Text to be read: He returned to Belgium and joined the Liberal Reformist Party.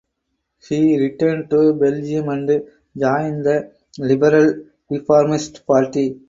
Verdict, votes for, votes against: rejected, 2, 4